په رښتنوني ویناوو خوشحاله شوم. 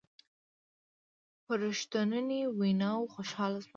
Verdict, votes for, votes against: accepted, 2, 0